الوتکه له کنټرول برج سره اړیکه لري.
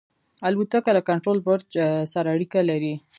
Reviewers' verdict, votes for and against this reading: accepted, 2, 0